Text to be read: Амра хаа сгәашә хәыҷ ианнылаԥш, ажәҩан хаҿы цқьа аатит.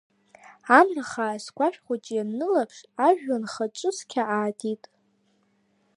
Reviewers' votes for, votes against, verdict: 2, 0, accepted